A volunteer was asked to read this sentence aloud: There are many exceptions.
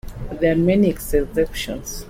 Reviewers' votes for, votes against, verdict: 1, 2, rejected